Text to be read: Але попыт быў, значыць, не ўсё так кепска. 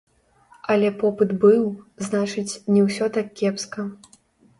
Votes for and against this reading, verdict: 0, 2, rejected